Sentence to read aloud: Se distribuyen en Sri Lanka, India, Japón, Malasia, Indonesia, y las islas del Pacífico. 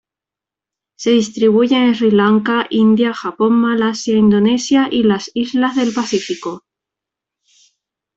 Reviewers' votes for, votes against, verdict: 2, 0, accepted